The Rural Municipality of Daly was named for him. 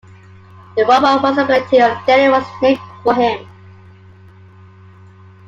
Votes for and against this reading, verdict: 1, 2, rejected